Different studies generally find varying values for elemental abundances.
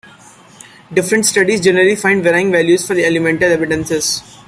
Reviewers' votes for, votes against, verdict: 2, 1, accepted